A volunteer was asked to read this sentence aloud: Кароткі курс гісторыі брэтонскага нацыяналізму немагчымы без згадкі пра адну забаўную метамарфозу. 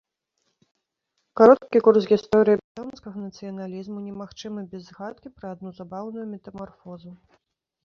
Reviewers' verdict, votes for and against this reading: rejected, 0, 2